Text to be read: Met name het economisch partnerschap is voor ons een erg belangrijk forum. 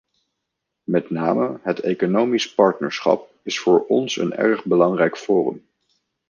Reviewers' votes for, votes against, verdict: 2, 0, accepted